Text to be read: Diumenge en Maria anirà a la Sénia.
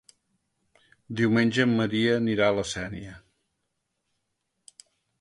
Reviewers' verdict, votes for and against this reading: accepted, 2, 0